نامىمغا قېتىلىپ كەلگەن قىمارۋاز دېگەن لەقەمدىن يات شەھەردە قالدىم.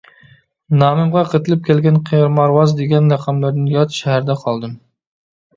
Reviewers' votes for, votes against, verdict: 0, 2, rejected